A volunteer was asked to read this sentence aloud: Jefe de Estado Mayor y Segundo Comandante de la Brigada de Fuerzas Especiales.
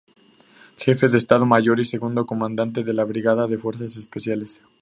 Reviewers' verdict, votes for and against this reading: accepted, 2, 0